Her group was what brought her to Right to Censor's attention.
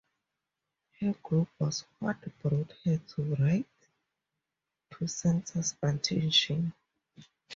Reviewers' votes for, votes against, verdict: 4, 0, accepted